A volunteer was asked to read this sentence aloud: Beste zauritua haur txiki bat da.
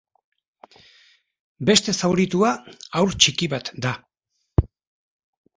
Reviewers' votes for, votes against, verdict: 2, 0, accepted